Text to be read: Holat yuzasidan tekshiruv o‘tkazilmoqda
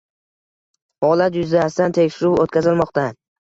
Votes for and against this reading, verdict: 2, 0, accepted